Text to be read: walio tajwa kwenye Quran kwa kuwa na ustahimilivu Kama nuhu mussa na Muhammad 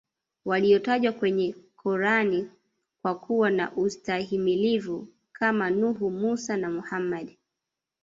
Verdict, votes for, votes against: accepted, 2, 1